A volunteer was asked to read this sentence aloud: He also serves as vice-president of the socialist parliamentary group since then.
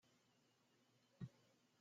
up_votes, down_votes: 0, 2